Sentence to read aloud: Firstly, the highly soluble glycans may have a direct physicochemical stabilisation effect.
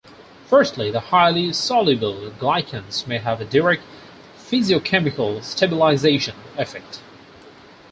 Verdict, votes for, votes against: accepted, 4, 0